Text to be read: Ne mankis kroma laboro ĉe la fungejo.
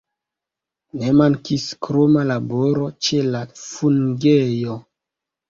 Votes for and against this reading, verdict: 2, 1, accepted